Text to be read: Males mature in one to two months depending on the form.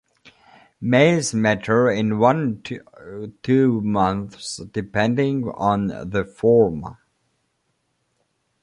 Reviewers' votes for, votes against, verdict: 0, 2, rejected